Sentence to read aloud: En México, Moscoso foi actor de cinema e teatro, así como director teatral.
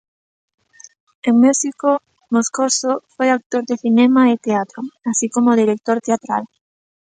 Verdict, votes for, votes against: accepted, 2, 0